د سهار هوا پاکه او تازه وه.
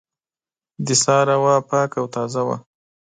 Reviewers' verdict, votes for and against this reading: accepted, 2, 0